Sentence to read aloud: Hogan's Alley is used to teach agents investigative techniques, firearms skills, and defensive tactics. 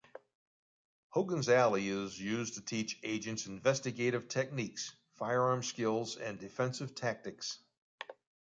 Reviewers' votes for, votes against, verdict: 1, 2, rejected